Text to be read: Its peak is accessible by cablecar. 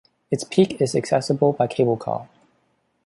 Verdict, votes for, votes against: accepted, 2, 0